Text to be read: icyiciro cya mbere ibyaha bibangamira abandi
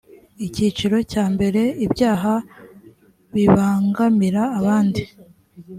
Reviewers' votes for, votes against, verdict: 4, 0, accepted